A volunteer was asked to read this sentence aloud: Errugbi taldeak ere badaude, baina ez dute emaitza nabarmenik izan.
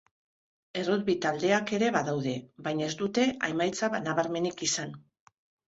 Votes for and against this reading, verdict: 1, 2, rejected